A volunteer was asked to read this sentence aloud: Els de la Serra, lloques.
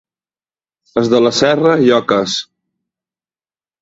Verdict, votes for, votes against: accepted, 2, 0